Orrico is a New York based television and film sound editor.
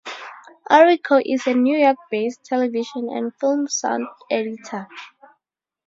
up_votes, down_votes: 4, 0